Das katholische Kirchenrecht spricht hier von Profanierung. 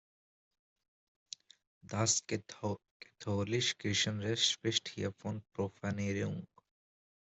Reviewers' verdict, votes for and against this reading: rejected, 0, 2